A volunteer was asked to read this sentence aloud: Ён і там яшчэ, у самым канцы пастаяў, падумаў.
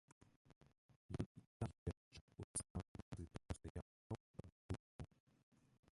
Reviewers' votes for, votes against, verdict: 0, 2, rejected